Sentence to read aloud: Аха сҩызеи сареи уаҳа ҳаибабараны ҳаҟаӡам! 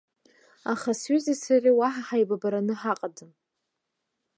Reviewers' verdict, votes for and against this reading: accepted, 2, 0